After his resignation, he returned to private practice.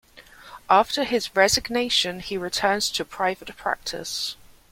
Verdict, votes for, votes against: accepted, 2, 0